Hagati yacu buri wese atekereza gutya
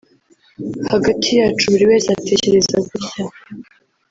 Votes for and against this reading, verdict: 2, 3, rejected